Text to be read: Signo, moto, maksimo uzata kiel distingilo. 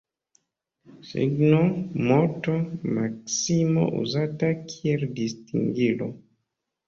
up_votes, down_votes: 1, 2